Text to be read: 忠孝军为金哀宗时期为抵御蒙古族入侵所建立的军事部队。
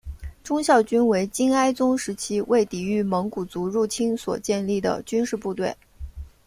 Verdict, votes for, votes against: accepted, 2, 0